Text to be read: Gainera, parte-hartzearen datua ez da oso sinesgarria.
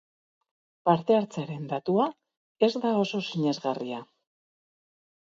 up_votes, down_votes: 0, 4